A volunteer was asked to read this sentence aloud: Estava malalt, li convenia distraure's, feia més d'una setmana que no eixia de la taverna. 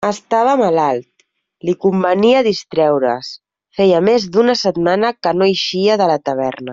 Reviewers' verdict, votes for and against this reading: rejected, 1, 2